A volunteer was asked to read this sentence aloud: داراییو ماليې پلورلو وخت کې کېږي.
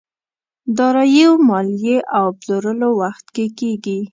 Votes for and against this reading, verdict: 0, 2, rejected